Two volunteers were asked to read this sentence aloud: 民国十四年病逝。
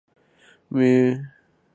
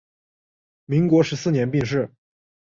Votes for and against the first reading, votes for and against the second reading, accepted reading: 3, 5, 2, 0, second